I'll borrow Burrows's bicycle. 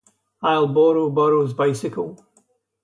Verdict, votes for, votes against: rejected, 2, 2